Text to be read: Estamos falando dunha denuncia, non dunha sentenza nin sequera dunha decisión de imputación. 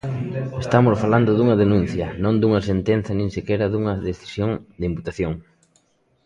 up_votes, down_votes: 1, 2